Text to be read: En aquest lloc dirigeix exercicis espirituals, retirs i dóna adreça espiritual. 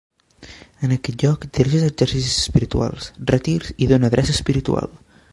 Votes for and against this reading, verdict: 2, 4, rejected